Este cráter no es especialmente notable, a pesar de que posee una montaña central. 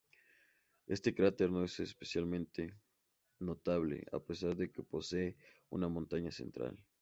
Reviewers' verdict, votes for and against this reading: accepted, 2, 0